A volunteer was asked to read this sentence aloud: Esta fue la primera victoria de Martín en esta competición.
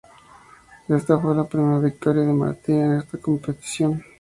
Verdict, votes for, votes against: accepted, 2, 0